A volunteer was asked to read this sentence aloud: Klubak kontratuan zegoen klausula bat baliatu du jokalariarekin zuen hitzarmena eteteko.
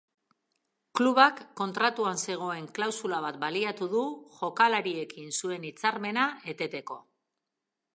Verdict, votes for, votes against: rejected, 0, 3